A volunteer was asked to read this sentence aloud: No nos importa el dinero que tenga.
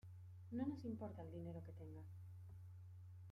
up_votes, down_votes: 0, 2